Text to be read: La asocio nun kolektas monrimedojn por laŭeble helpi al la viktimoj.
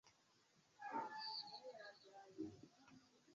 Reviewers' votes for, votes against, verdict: 0, 2, rejected